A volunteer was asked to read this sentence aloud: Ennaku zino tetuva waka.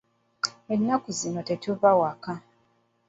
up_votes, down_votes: 2, 0